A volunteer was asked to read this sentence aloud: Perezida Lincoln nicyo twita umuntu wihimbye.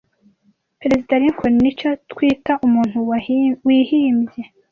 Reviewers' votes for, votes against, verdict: 1, 2, rejected